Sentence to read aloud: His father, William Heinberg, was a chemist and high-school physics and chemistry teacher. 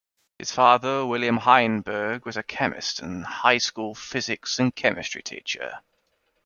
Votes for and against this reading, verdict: 2, 0, accepted